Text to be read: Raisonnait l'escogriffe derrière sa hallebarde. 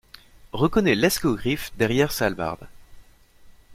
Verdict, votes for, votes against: rejected, 0, 2